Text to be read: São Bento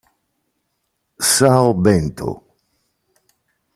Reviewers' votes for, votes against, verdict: 2, 0, accepted